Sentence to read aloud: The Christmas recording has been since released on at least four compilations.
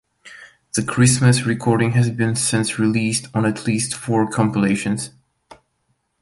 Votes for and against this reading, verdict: 2, 0, accepted